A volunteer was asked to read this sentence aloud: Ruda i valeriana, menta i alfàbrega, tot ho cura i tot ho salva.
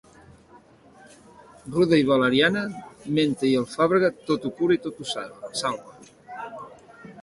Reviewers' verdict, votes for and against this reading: accepted, 2, 1